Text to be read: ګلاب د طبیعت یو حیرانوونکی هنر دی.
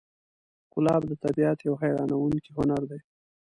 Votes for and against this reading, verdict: 2, 0, accepted